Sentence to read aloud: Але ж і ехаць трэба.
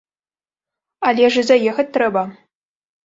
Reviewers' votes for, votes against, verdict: 0, 2, rejected